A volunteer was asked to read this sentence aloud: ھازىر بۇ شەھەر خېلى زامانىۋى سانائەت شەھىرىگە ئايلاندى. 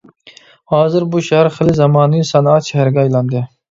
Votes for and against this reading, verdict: 1, 2, rejected